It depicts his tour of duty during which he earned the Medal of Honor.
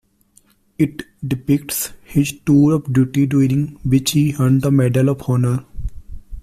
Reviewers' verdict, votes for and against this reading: accepted, 2, 1